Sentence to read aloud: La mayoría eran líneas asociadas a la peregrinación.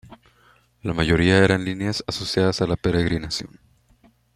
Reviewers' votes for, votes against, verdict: 2, 1, accepted